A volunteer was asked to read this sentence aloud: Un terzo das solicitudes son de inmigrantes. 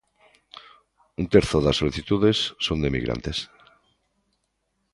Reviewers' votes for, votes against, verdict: 2, 1, accepted